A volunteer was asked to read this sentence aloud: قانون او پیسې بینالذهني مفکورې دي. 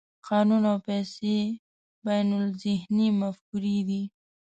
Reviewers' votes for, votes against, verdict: 2, 0, accepted